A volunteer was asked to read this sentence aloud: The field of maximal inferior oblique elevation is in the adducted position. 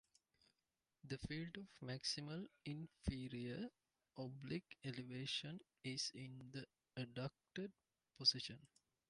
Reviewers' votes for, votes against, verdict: 2, 0, accepted